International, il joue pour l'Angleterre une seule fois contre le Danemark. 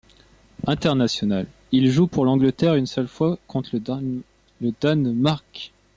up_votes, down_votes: 0, 2